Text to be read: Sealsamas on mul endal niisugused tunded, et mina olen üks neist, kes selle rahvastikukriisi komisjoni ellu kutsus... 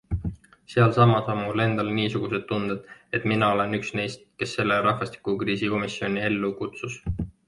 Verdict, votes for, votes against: accepted, 2, 0